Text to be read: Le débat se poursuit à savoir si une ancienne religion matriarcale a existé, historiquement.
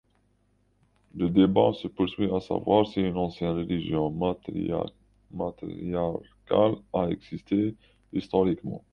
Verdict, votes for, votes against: rejected, 0, 2